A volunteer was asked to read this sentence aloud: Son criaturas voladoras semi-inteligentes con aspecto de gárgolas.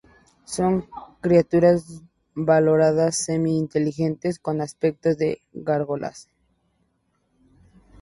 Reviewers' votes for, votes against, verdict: 2, 2, rejected